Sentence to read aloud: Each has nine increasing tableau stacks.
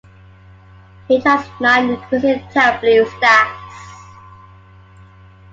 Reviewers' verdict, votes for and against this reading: rejected, 1, 2